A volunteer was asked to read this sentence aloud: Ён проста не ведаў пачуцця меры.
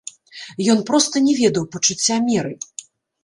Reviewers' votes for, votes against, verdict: 0, 2, rejected